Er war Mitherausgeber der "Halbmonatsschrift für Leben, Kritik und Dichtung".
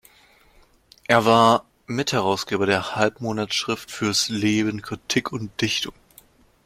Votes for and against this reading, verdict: 1, 2, rejected